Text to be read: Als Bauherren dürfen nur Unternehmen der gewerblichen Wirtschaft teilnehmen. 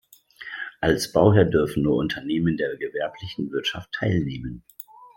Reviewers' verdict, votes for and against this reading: rejected, 1, 2